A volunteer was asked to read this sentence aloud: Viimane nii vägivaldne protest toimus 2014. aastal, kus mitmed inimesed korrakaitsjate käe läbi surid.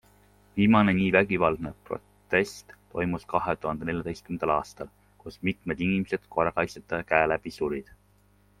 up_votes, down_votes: 0, 2